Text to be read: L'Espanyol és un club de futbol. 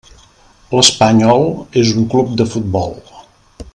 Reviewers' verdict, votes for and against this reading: accepted, 3, 0